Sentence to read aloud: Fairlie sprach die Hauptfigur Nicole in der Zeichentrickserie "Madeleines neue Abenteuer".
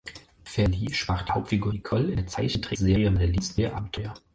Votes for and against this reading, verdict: 0, 4, rejected